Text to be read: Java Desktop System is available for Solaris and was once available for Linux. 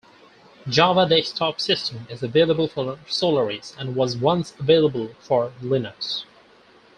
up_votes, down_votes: 4, 2